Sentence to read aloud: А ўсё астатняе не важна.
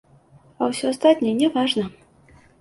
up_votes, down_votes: 2, 0